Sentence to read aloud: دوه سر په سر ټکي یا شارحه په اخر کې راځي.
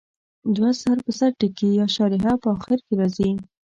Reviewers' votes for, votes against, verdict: 2, 0, accepted